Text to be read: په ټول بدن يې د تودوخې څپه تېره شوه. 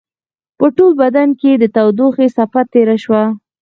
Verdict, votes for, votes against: accepted, 4, 0